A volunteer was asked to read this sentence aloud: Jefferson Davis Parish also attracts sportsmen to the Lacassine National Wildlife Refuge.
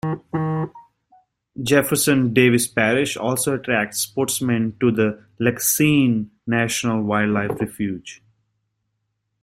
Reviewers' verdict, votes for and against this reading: accepted, 2, 1